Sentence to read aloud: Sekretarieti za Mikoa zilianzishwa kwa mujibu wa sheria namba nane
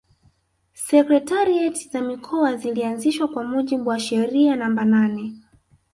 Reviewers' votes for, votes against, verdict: 4, 0, accepted